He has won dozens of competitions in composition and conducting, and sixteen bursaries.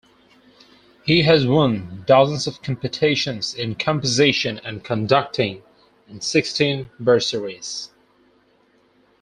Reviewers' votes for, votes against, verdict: 4, 0, accepted